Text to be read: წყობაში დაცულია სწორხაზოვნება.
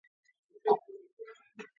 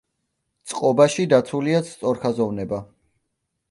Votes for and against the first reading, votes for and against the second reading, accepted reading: 0, 2, 2, 0, second